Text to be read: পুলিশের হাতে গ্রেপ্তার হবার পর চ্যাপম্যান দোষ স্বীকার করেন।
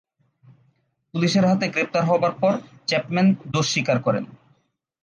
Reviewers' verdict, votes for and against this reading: accepted, 2, 0